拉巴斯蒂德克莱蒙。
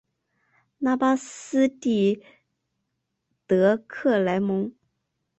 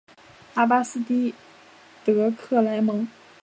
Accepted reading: second